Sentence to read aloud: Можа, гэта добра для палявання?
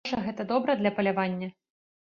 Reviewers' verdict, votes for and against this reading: rejected, 1, 2